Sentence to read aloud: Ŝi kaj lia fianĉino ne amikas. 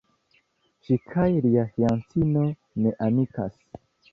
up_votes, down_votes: 1, 2